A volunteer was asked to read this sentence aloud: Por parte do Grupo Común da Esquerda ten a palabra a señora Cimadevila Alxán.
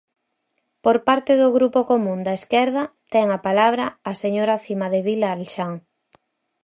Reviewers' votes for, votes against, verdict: 4, 0, accepted